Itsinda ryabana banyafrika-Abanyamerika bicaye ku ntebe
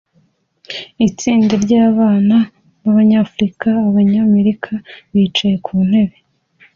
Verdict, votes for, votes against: accepted, 2, 0